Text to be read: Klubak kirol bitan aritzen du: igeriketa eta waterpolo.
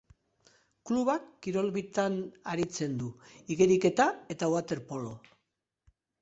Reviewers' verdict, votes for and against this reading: accepted, 2, 0